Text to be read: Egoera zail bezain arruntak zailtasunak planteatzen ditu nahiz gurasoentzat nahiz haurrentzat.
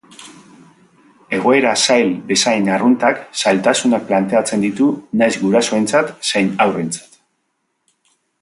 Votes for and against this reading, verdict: 1, 3, rejected